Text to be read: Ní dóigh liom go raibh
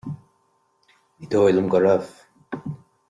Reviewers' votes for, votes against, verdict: 2, 0, accepted